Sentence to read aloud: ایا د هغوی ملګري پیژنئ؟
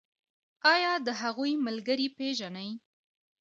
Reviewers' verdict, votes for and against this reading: accepted, 2, 1